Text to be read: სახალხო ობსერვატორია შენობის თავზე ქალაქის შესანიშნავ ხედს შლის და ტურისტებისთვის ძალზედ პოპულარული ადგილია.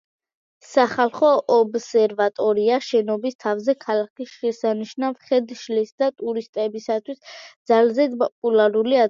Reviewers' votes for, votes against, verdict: 0, 2, rejected